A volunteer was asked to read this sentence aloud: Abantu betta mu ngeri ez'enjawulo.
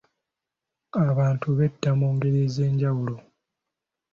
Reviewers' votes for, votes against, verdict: 2, 0, accepted